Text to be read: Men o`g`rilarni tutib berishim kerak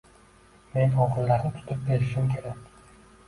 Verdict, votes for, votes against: rejected, 1, 2